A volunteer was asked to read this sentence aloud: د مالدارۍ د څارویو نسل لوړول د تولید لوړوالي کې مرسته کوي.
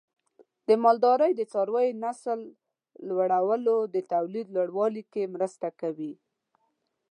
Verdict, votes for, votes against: rejected, 1, 2